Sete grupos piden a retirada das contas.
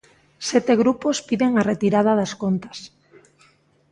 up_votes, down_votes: 2, 0